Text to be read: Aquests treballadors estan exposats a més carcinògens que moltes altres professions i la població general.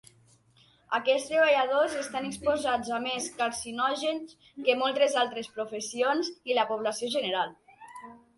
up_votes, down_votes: 3, 0